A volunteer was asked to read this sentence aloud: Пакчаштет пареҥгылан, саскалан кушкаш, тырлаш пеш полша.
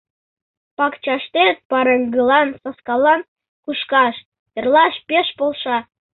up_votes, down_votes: 2, 0